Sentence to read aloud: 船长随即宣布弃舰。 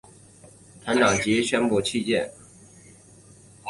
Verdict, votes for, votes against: accepted, 4, 0